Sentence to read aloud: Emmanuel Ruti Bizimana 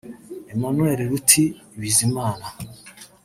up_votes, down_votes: 1, 2